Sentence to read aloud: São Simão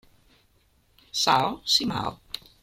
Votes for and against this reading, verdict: 2, 1, accepted